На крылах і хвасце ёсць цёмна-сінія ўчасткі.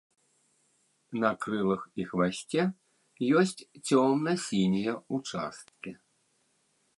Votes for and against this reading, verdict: 0, 2, rejected